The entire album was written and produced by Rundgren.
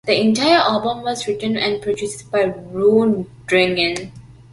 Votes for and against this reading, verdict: 2, 1, accepted